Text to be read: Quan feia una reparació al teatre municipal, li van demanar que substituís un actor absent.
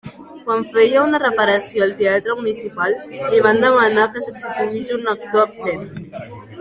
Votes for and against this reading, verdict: 3, 0, accepted